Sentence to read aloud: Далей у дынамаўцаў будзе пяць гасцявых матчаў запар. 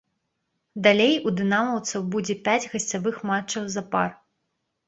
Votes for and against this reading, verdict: 0, 3, rejected